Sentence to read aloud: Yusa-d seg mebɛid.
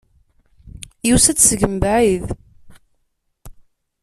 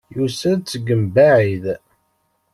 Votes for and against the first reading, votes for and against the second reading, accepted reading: 2, 0, 1, 2, first